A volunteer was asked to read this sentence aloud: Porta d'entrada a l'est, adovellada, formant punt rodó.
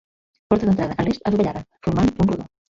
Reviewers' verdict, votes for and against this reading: rejected, 0, 2